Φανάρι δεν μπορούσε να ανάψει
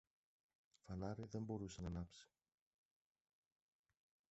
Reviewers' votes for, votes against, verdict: 0, 2, rejected